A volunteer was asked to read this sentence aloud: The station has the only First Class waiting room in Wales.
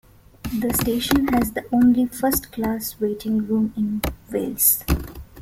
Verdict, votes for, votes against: accepted, 2, 0